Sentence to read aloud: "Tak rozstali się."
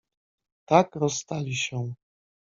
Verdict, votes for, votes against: accepted, 2, 0